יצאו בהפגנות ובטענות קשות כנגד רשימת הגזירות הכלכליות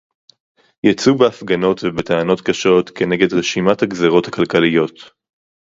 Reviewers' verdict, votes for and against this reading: accepted, 4, 0